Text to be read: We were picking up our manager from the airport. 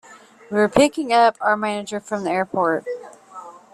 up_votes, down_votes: 2, 0